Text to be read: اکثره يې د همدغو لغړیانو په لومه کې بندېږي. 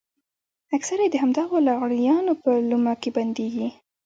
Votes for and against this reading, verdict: 1, 2, rejected